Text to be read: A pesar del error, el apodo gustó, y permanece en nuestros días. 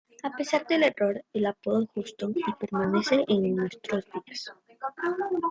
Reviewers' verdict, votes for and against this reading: rejected, 1, 2